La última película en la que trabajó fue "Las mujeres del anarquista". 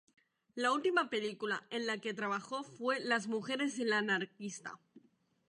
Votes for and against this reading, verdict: 0, 2, rejected